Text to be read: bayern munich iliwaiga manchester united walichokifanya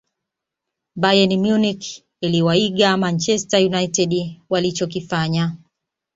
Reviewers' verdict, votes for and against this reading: rejected, 0, 2